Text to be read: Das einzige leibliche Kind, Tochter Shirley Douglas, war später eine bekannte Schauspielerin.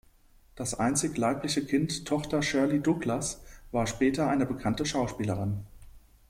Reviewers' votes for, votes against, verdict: 0, 2, rejected